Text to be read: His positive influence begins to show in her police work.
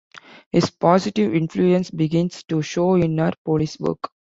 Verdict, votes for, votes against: accepted, 2, 1